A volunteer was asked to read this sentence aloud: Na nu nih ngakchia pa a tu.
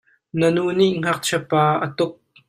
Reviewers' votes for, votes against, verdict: 0, 2, rejected